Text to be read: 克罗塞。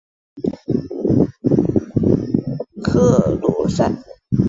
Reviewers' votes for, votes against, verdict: 3, 0, accepted